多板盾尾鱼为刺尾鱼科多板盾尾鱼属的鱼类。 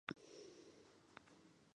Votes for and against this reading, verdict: 0, 3, rejected